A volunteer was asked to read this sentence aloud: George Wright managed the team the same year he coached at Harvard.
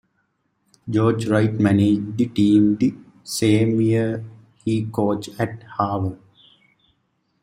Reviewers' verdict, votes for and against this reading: rejected, 0, 2